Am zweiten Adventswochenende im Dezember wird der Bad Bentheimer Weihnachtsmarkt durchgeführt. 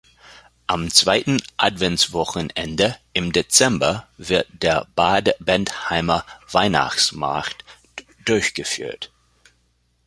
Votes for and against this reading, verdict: 2, 1, accepted